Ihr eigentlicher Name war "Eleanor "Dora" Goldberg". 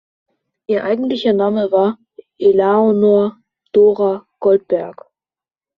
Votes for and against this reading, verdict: 0, 2, rejected